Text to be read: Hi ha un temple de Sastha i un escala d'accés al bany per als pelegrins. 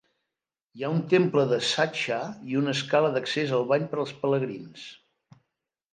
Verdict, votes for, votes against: accepted, 2, 0